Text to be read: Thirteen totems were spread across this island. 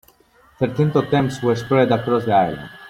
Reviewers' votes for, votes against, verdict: 0, 2, rejected